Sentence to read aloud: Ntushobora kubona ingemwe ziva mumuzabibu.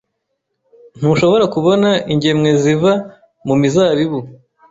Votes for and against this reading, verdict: 1, 2, rejected